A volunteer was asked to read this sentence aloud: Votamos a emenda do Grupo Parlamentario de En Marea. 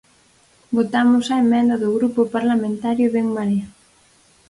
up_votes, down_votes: 0, 4